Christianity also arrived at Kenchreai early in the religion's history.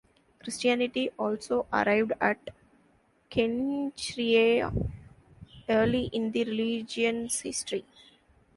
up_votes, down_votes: 1, 2